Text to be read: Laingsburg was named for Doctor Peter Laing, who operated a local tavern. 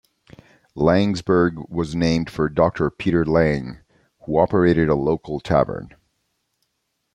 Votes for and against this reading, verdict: 2, 0, accepted